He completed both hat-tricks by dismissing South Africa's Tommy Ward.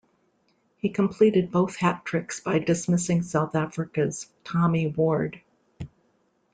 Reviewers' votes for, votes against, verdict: 2, 0, accepted